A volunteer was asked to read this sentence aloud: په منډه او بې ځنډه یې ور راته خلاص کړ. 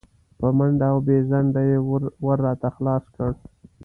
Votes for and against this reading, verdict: 2, 0, accepted